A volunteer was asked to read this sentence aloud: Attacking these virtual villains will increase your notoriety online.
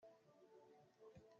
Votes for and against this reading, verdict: 0, 2, rejected